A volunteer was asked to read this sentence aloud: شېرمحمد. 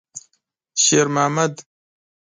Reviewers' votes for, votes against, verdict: 2, 0, accepted